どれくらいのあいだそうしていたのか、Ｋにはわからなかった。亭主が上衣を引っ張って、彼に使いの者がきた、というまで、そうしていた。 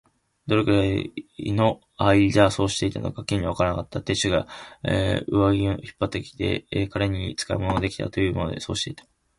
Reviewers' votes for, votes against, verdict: 1, 2, rejected